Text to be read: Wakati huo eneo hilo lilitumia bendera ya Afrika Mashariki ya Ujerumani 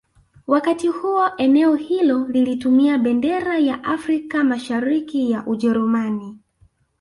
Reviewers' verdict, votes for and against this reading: accepted, 2, 0